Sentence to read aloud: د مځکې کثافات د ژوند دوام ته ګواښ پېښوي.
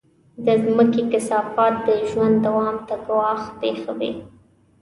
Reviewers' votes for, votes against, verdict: 2, 0, accepted